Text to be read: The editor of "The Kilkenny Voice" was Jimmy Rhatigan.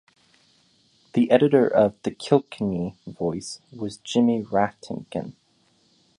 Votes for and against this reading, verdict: 2, 0, accepted